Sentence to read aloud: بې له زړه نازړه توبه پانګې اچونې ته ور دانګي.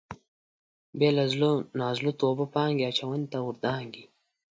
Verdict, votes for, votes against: accepted, 2, 0